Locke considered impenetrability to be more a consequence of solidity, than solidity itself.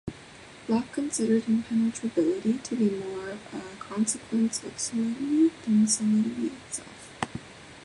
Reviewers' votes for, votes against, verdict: 2, 1, accepted